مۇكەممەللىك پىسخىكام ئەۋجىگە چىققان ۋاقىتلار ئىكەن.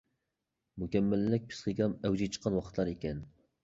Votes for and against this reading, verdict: 2, 0, accepted